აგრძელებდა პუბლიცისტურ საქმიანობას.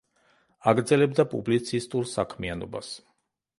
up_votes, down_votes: 2, 0